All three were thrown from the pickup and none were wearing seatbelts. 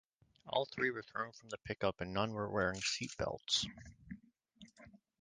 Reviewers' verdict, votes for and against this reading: accepted, 2, 0